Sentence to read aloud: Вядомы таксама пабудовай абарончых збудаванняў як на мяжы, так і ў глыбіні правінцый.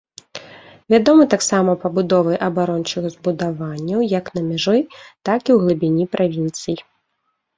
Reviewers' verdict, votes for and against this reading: rejected, 1, 2